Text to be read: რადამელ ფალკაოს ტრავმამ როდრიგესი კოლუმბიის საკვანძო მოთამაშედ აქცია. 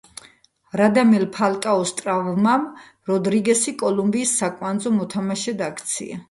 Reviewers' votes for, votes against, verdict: 2, 1, accepted